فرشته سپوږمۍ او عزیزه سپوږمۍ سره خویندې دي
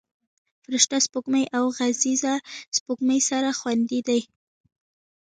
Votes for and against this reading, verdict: 2, 0, accepted